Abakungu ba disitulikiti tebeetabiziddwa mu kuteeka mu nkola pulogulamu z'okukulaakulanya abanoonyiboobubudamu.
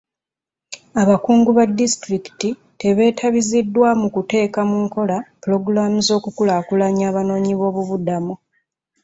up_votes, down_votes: 2, 0